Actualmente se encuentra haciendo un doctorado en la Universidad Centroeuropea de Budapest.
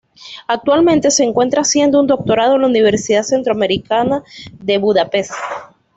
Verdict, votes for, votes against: rejected, 1, 2